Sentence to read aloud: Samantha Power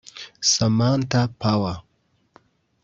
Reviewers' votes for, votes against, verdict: 1, 3, rejected